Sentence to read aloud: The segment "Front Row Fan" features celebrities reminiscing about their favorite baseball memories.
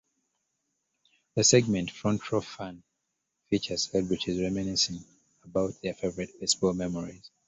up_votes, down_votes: 1, 2